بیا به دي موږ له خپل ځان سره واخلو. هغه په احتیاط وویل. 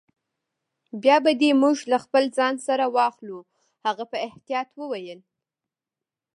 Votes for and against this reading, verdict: 3, 0, accepted